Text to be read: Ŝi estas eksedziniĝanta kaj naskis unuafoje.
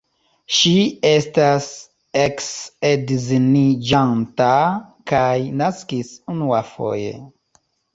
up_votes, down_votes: 1, 2